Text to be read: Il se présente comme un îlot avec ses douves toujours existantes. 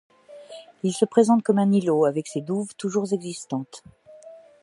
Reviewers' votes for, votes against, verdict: 2, 0, accepted